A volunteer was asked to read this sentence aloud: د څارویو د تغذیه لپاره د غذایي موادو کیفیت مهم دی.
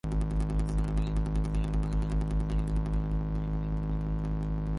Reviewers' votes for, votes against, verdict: 0, 2, rejected